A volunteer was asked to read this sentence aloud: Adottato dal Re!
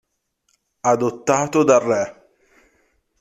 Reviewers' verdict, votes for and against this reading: accepted, 2, 0